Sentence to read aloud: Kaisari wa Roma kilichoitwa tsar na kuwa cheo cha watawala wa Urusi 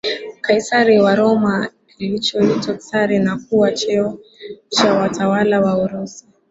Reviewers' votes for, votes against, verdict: 1, 2, rejected